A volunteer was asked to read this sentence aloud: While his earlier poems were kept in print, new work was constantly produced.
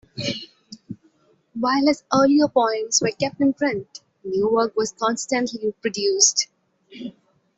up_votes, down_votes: 2, 1